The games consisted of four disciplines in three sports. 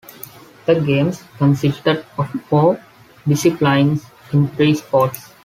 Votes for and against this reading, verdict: 2, 1, accepted